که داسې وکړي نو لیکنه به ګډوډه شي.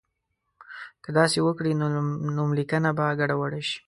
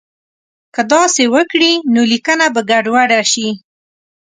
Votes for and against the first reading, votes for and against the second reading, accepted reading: 1, 2, 4, 0, second